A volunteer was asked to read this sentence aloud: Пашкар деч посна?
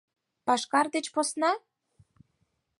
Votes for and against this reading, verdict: 4, 0, accepted